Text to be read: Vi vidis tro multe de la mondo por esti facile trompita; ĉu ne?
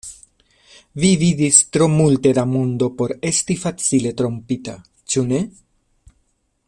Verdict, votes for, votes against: rejected, 1, 2